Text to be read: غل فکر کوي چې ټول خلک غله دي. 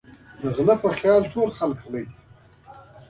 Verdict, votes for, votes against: rejected, 0, 2